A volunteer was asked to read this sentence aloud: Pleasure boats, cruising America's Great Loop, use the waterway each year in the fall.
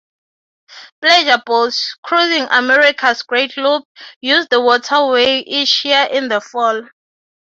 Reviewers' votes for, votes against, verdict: 3, 0, accepted